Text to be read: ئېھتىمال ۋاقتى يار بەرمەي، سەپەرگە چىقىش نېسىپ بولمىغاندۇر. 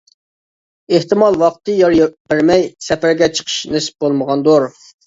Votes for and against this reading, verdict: 0, 2, rejected